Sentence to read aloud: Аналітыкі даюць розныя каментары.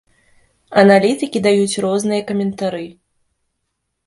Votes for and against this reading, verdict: 2, 0, accepted